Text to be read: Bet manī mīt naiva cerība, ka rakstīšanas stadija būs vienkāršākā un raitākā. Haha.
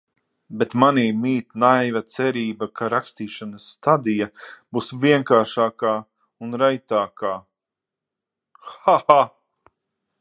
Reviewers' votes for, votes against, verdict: 6, 0, accepted